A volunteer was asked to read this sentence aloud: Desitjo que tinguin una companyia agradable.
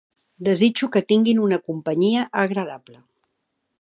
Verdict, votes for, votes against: accepted, 3, 0